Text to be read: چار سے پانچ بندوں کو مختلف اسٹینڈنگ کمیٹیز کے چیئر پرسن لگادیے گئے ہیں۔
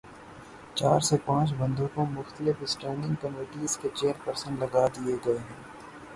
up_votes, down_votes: 3, 0